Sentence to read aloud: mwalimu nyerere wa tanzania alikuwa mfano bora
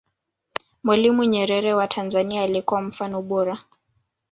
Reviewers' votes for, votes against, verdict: 2, 0, accepted